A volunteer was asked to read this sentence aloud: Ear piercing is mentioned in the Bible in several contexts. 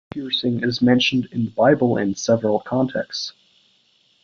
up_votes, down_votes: 1, 2